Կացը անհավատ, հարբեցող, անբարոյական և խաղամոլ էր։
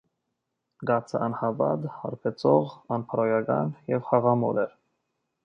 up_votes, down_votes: 1, 2